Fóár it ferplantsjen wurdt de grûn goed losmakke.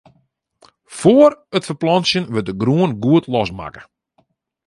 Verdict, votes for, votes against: accepted, 2, 0